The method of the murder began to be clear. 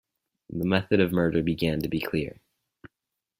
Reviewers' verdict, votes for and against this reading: rejected, 2, 4